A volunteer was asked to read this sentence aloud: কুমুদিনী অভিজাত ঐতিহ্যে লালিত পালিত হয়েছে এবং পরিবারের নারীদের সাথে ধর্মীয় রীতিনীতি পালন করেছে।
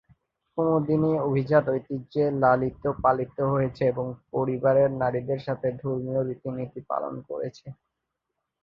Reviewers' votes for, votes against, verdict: 2, 0, accepted